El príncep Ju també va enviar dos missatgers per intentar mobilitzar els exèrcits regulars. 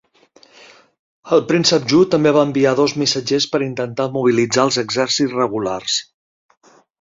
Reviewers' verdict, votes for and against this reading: accepted, 2, 0